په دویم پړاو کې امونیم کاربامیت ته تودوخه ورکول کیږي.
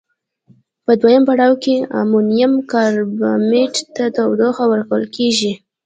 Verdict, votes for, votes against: accepted, 2, 1